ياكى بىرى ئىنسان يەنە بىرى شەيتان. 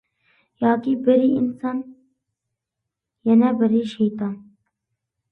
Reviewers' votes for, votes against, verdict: 2, 0, accepted